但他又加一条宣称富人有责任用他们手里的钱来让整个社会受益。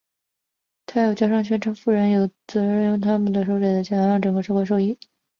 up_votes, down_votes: 0, 2